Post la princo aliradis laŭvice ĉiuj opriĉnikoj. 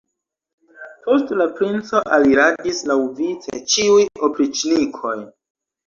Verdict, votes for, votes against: rejected, 1, 2